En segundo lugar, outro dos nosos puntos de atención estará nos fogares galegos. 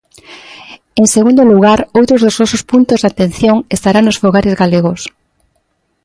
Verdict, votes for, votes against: accepted, 2, 0